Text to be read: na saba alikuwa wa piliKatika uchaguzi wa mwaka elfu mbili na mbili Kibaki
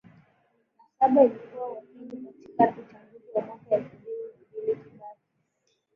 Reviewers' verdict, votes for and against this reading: rejected, 0, 2